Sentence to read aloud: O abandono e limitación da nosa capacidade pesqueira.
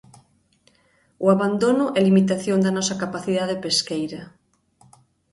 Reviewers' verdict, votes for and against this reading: accepted, 2, 0